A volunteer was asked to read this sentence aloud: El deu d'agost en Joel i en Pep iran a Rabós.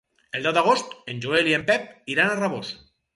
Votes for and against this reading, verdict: 4, 0, accepted